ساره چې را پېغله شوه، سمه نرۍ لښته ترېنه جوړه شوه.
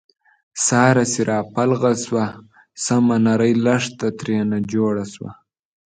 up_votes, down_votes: 1, 2